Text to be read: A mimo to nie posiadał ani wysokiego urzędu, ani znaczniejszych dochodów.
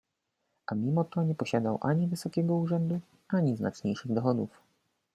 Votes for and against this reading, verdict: 2, 0, accepted